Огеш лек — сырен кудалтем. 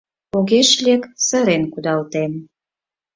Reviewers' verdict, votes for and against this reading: accepted, 4, 0